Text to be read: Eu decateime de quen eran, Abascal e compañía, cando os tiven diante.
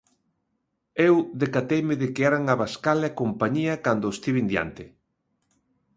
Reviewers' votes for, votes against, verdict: 0, 2, rejected